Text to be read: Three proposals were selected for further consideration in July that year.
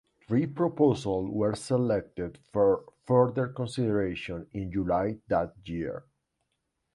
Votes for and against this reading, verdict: 2, 1, accepted